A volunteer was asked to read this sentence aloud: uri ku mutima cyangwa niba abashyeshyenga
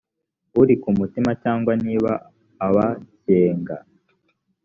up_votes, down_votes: 1, 2